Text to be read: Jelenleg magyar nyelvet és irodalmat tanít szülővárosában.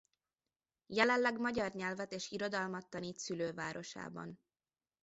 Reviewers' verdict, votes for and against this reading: accepted, 2, 0